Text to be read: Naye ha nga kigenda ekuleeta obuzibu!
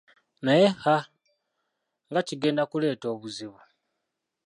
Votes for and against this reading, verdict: 0, 2, rejected